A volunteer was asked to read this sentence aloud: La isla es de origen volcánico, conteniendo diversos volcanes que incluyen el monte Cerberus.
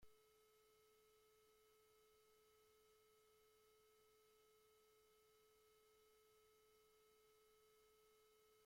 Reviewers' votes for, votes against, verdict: 0, 2, rejected